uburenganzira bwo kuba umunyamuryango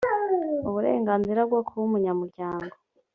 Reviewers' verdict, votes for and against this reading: accepted, 3, 0